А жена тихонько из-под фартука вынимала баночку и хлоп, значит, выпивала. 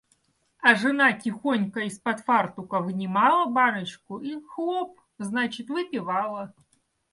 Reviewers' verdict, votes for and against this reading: accepted, 2, 1